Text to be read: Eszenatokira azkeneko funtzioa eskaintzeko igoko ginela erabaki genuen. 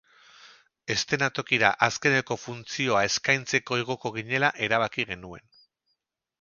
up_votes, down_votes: 4, 0